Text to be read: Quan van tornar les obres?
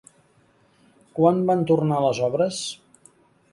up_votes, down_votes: 3, 0